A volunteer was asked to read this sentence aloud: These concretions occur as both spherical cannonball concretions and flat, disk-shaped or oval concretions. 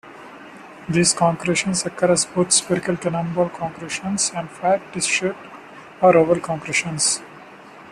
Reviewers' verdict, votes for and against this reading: accepted, 2, 0